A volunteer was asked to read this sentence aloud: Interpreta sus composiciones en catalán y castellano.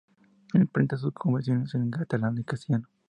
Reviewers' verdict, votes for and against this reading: rejected, 0, 4